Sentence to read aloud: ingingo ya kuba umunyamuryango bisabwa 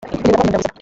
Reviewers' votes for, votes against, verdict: 0, 2, rejected